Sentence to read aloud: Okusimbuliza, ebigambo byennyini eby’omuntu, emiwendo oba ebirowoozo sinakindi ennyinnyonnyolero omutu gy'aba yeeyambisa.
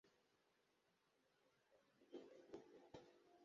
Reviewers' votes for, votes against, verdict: 0, 2, rejected